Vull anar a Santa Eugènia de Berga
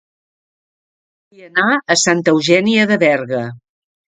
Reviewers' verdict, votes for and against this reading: rejected, 0, 2